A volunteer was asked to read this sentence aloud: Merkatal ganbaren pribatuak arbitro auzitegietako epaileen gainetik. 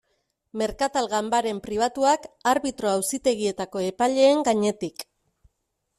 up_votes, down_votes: 2, 0